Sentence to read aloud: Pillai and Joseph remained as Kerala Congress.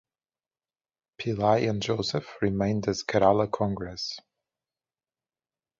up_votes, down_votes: 4, 0